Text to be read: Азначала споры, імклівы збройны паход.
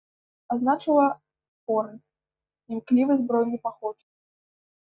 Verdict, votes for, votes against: accepted, 2, 1